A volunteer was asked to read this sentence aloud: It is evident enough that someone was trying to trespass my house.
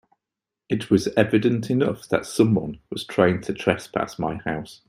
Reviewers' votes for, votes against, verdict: 2, 1, accepted